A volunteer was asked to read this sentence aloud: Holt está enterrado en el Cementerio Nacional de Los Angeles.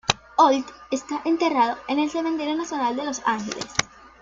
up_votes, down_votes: 0, 2